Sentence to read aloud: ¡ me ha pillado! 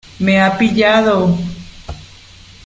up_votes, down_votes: 2, 0